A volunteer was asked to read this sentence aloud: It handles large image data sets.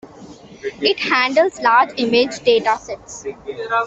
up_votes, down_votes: 2, 0